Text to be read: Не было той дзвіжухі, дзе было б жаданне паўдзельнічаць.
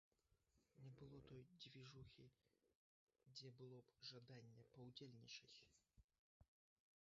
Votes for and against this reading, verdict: 0, 2, rejected